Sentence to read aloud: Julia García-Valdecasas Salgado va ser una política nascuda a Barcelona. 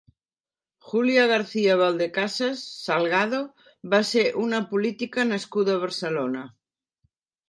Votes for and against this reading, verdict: 3, 0, accepted